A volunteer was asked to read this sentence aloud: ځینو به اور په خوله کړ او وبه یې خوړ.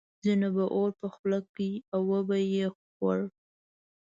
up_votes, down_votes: 2, 0